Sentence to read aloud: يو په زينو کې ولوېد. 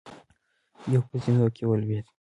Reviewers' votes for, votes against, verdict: 2, 0, accepted